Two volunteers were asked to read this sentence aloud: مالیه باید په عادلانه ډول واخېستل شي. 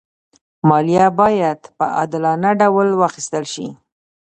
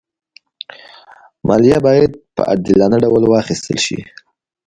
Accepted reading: second